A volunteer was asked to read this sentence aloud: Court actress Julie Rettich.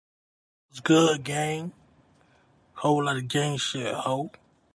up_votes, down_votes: 0, 2